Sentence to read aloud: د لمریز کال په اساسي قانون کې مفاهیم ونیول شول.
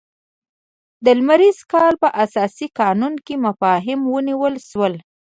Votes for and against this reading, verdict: 2, 0, accepted